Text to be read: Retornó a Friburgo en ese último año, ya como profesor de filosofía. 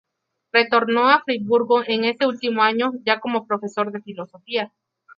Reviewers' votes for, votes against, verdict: 0, 4, rejected